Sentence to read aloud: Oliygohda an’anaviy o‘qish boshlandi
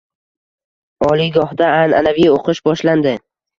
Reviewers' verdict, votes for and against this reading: accepted, 2, 0